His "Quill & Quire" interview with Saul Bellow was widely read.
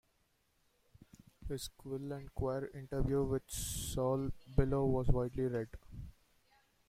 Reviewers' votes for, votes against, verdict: 2, 1, accepted